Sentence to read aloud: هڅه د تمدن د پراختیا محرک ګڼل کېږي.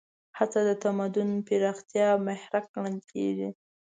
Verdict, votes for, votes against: accepted, 2, 0